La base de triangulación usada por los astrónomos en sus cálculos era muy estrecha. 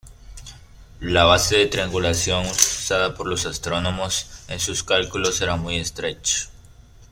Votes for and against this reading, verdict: 0, 2, rejected